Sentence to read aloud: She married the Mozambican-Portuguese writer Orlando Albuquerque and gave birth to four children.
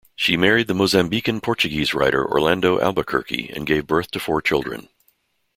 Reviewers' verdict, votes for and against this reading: accepted, 2, 0